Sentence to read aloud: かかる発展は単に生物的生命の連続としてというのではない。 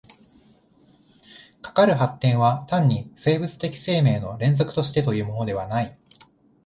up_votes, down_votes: 0, 2